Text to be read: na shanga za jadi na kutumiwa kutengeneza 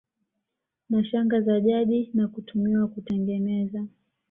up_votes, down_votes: 2, 1